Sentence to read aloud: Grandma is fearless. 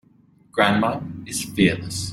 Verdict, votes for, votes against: accepted, 2, 0